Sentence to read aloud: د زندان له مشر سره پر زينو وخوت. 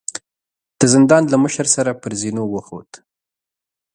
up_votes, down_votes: 2, 0